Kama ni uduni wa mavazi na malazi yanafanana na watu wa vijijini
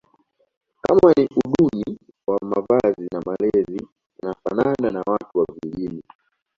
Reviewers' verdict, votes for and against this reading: rejected, 0, 2